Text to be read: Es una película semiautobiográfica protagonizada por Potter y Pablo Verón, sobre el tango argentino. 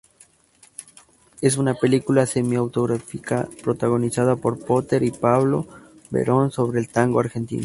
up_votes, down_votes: 0, 2